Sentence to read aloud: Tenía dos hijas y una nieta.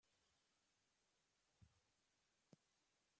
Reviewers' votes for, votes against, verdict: 0, 2, rejected